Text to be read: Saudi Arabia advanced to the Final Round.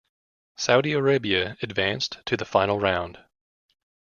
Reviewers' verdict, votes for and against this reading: accepted, 2, 0